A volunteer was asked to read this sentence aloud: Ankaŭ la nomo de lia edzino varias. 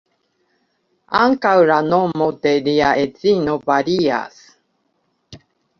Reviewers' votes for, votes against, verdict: 2, 1, accepted